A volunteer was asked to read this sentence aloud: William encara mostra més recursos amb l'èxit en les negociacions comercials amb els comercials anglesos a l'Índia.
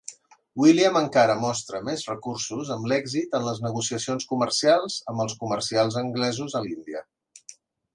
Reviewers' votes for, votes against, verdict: 2, 0, accepted